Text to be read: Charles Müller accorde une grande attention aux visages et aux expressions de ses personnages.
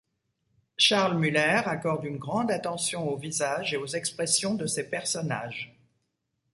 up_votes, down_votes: 2, 0